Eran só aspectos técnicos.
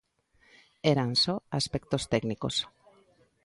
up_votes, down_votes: 2, 0